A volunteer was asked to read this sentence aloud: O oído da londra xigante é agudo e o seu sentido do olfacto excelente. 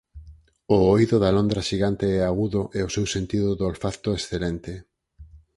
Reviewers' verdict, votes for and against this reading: accepted, 4, 0